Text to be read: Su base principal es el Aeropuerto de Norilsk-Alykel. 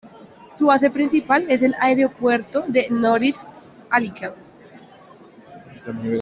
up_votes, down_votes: 2, 0